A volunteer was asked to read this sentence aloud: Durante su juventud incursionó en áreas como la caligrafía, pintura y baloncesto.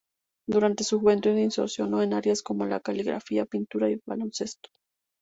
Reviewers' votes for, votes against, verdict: 0, 2, rejected